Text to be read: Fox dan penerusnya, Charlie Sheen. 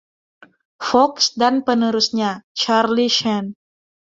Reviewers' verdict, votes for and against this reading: rejected, 1, 2